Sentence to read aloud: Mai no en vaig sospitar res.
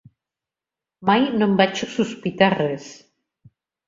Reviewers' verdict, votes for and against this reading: rejected, 1, 2